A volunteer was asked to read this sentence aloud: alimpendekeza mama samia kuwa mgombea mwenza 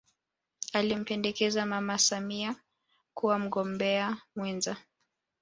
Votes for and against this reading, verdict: 0, 2, rejected